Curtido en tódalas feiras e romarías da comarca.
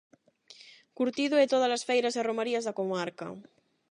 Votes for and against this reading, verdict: 0, 8, rejected